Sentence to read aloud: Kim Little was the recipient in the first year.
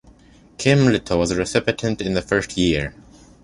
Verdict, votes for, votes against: rejected, 1, 2